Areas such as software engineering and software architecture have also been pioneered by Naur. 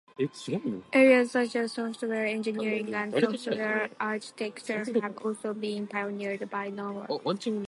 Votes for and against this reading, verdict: 0, 2, rejected